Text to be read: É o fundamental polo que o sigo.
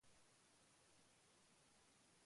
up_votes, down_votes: 0, 2